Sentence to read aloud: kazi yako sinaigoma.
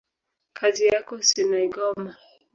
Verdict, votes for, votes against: accepted, 2, 0